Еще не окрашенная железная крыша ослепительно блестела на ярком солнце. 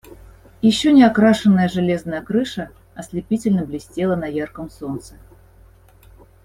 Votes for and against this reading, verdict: 2, 0, accepted